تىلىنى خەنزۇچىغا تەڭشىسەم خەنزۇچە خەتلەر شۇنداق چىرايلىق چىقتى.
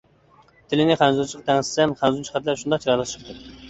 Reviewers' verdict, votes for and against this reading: rejected, 1, 2